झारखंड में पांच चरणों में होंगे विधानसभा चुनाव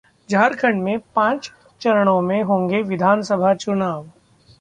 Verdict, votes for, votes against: accepted, 2, 0